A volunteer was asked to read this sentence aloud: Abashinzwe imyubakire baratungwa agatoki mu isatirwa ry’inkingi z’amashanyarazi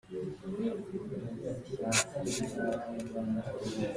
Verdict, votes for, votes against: rejected, 0, 2